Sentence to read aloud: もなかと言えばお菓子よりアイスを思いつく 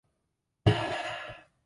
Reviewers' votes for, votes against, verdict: 0, 2, rejected